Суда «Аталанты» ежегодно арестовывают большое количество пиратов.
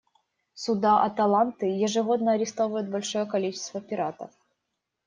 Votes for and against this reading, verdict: 2, 0, accepted